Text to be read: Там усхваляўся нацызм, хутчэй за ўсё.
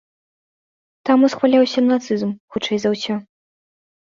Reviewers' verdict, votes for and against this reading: accepted, 2, 0